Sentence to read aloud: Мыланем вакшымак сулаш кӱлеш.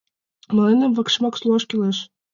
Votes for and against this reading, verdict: 1, 2, rejected